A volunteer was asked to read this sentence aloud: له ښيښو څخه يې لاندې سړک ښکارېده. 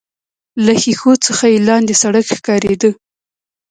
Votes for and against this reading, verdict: 2, 0, accepted